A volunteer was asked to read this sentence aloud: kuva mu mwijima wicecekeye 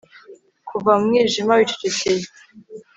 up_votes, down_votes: 3, 0